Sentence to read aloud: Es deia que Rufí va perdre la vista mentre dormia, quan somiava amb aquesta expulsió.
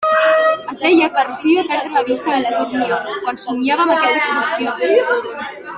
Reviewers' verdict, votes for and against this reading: rejected, 1, 2